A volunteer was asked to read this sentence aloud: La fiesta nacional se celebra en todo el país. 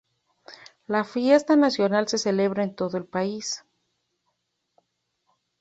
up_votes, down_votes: 2, 0